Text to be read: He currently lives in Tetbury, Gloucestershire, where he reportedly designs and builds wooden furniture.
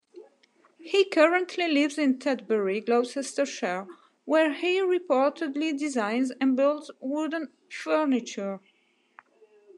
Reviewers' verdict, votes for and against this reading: accepted, 2, 0